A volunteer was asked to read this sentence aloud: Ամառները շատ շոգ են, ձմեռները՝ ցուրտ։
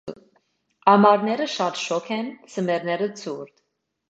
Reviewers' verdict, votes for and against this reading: accepted, 2, 0